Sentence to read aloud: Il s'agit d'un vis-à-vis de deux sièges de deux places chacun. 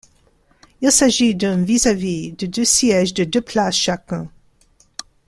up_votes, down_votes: 2, 0